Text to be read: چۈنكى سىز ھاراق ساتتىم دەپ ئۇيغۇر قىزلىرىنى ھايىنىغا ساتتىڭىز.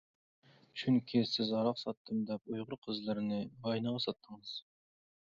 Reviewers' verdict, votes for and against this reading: rejected, 1, 2